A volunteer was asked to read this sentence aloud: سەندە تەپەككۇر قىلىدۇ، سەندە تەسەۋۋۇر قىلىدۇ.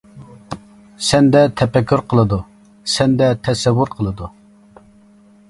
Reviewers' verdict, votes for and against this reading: accepted, 2, 0